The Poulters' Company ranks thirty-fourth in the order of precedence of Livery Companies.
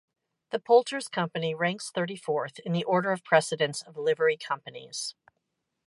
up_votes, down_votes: 2, 0